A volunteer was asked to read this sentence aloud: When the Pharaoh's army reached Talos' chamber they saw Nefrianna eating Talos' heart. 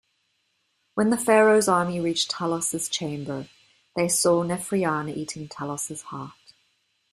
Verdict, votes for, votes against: accepted, 2, 0